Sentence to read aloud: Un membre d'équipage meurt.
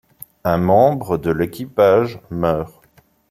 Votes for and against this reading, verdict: 1, 2, rejected